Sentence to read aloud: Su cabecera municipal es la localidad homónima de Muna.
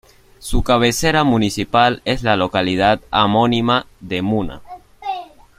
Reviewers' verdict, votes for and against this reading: rejected, 0, 2